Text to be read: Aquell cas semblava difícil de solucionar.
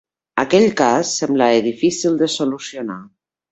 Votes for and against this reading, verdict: 1, 3, rejected